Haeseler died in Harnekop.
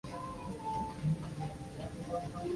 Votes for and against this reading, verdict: 0, 2, rejected